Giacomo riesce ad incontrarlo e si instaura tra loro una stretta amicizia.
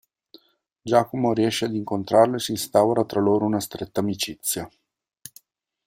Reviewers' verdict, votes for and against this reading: accepted, 2, 0